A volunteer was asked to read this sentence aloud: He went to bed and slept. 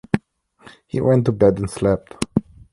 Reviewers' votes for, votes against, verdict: 2, 0, accepted